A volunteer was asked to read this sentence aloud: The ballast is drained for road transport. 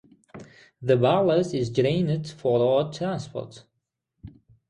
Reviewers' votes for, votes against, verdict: 3, 3, rejected